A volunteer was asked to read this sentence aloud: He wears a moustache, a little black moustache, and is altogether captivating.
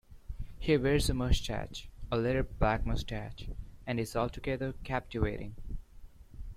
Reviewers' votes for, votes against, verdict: 0, 2, rejected